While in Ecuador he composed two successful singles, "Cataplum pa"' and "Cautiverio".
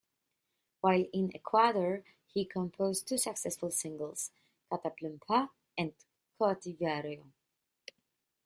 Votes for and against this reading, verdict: 0, 2, rejected